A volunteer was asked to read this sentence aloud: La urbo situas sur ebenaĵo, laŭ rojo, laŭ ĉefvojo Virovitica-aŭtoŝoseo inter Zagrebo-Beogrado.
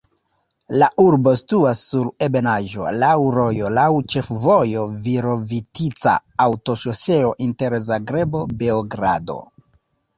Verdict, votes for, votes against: rejected, 1, 2